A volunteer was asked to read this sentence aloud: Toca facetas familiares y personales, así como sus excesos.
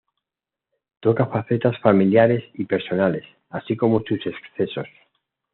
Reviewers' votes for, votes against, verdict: 2, 0, accepted